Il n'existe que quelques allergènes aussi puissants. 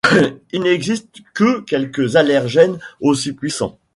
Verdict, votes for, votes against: rejected, 0, 2